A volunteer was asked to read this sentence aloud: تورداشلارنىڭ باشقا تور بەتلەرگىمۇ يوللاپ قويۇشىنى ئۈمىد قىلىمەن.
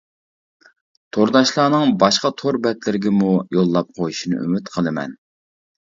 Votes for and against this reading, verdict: 0, 2, rejected